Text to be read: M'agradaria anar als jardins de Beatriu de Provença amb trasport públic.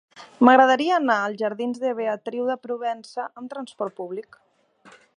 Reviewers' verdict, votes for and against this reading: accepted, 4, 0